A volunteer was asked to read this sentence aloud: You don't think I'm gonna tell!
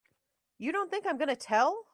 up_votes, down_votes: 2, 0